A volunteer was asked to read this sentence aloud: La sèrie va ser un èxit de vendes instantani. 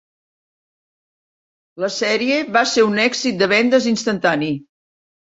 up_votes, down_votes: 4, 0